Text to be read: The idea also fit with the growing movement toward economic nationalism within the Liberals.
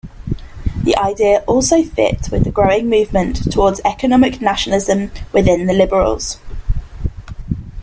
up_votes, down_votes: 1, 3